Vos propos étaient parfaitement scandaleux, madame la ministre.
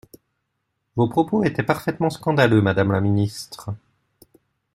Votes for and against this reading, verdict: 2, 0, accepted